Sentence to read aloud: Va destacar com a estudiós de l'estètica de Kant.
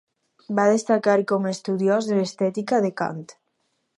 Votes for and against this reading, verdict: 4, 0, accepted